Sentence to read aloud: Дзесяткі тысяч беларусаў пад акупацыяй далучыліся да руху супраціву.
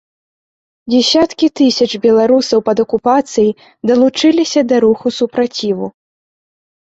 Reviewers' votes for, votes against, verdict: 2, 0, accepted